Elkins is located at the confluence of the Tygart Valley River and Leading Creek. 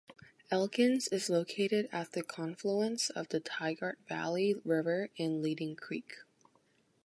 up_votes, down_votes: 2, 0